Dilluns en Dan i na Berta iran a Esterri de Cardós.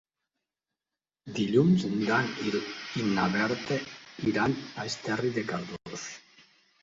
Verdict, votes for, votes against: rejected, 1, 2